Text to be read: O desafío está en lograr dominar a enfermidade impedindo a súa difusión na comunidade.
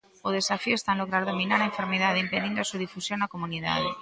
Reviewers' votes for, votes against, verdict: 2, 0, accepted